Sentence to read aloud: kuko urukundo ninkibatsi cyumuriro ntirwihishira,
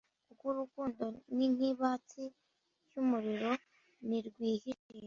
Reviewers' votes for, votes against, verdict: 0, 2, rejected